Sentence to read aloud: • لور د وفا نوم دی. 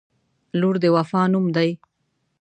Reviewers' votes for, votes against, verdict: 2, 0, accepted